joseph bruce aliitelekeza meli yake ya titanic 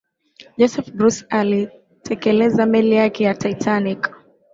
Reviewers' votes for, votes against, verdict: 2, 1, accepted